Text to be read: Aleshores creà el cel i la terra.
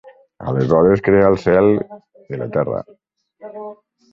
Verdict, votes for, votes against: rejected, 1, 2